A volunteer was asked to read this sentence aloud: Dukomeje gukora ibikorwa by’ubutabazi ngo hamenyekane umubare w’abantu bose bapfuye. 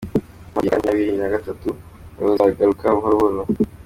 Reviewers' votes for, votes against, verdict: 0, 2, rejected